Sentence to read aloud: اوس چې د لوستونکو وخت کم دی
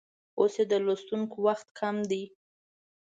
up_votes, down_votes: 1, 2